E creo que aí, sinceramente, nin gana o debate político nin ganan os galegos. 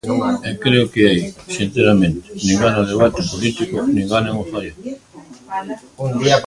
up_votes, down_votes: 0, 2